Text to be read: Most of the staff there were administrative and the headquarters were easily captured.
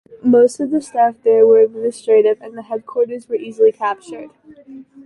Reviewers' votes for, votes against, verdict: 2, 0, accepted